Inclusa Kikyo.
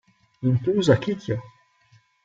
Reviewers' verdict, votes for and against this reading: rejected, 0, 2